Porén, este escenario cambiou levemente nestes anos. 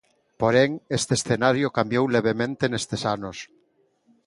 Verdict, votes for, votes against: accepted, 2, 0